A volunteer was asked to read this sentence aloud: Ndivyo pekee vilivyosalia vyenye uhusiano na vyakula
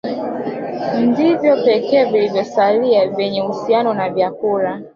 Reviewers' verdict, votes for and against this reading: rejected, 0, 4